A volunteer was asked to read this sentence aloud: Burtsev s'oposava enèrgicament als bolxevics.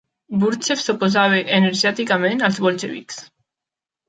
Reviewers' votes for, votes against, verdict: 0, 2, rejected